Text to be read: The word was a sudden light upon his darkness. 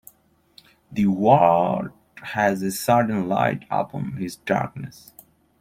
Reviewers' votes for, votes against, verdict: 0, 2, rejected